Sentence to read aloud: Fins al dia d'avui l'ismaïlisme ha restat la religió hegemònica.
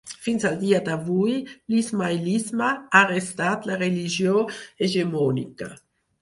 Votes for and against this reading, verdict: 4, 0, accepted